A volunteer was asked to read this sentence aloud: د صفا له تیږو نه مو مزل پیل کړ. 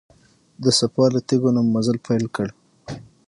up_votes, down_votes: 3, 6